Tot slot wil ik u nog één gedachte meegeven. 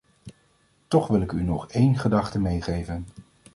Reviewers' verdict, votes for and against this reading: rejected, 1, 2